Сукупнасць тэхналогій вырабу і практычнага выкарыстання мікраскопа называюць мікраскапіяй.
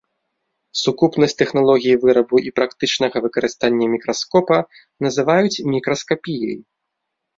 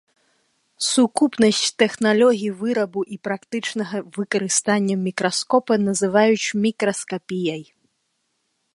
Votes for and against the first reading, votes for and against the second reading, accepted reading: 2, 0, 0, 2, first